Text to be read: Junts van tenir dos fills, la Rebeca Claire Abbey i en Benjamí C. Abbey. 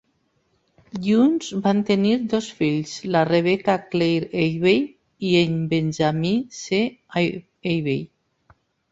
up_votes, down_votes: 0, 2